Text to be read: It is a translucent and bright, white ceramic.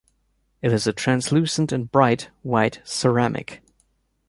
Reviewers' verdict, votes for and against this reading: accepted, 2, 0